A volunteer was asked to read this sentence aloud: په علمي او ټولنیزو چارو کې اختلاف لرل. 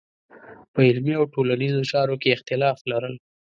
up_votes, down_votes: 2, 0